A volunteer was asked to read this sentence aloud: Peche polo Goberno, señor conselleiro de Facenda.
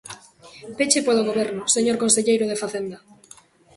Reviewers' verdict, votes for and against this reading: accepted, 2, 0